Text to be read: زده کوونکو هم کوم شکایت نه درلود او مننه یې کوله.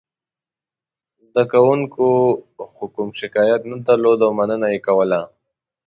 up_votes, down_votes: 1, 2